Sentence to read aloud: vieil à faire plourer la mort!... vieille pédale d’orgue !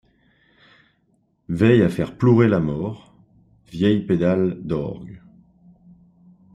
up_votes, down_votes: 0, 2